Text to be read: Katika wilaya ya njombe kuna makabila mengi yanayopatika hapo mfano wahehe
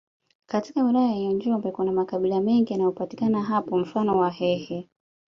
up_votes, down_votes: 2, 0